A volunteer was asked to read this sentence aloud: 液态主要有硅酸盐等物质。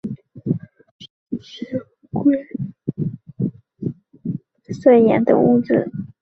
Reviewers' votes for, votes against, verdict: 0, 2, rejected